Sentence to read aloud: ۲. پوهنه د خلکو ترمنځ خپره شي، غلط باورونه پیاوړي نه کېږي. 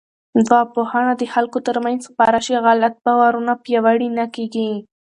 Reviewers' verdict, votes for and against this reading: rejected, 0, 2